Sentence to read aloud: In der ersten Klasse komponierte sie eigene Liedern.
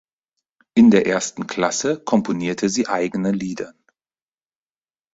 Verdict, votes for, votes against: rejected, 2, 4